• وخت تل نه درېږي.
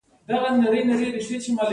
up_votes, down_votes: 1, 2